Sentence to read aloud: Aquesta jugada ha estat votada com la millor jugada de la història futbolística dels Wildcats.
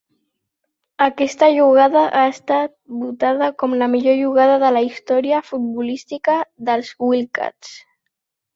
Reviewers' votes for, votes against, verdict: 3, 0, accepted